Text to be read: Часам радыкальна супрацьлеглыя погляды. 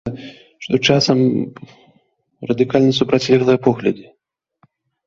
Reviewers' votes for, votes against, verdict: 1, 2, rejected